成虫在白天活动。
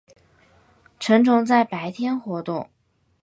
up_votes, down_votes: 2, 0